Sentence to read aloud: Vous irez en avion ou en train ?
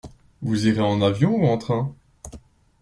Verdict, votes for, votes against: accepted, 2, 0